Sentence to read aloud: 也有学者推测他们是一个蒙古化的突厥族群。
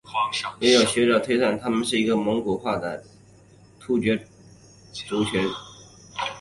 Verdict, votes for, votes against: accepted, 4, 1